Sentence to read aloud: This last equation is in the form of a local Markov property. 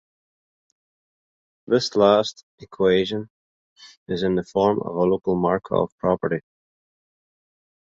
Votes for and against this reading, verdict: 2, 0, accepted